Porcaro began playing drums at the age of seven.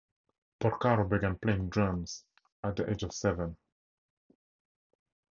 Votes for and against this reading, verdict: 2, 0, accepted